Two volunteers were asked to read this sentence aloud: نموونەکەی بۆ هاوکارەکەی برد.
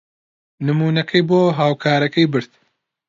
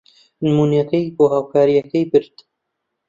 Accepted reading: first